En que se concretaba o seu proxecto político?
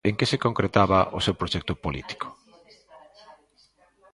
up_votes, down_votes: 2, 0